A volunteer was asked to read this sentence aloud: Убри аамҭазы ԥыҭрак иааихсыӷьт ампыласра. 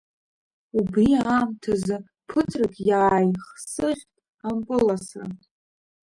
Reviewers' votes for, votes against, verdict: 0, 2, rejected